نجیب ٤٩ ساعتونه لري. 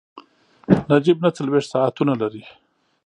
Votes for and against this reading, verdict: 0, 2, rejected